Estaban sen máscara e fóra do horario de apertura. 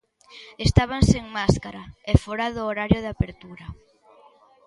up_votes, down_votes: 2, 0